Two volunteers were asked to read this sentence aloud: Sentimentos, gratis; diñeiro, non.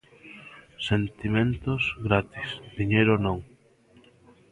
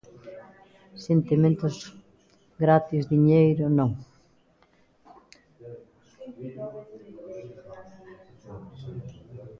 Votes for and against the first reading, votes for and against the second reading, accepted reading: 2, 0, 0, 2, first